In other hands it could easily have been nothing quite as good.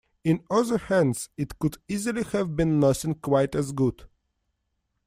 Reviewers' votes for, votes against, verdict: 2, 0, accepted